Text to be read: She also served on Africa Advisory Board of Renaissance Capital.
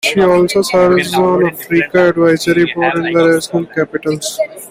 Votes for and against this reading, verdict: 1, 2, rejected